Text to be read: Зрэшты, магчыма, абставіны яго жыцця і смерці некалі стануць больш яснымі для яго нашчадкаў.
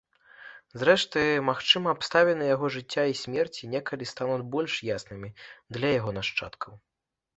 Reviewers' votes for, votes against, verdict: 2, 0, accepted